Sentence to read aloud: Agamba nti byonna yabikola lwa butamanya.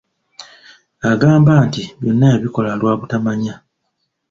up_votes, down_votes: 3, 0